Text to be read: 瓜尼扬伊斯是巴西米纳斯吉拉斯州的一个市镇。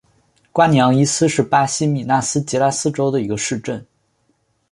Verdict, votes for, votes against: accepted, 4, 0